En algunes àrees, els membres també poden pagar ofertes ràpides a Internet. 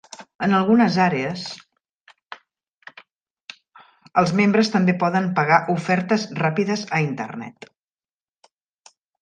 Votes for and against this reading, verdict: 0, 2, rejected